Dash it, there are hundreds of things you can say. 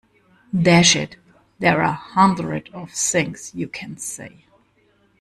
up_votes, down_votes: 1, 2